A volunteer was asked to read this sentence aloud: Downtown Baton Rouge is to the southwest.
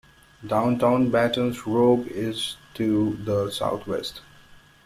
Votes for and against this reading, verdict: 1, 2, rejected